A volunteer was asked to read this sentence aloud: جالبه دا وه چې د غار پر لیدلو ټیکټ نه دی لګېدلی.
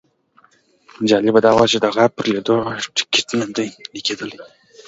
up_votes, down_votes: 2, 1